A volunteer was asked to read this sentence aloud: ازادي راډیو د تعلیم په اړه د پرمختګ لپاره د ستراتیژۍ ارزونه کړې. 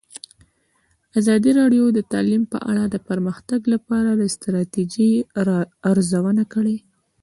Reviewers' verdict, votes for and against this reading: accepted, 2, 1